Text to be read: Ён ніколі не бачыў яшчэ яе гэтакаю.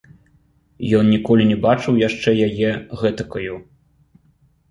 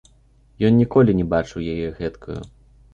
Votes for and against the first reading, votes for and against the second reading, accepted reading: 2, 0, 0, 2, first